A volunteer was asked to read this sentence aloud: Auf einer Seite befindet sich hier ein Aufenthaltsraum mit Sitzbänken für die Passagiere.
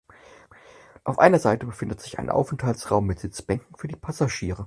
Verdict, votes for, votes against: rejected, 2, 4